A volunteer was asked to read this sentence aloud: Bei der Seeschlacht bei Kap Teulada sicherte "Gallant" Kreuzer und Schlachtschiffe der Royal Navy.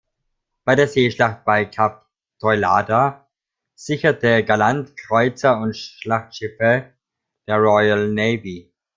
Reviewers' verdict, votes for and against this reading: rejected, 1, 2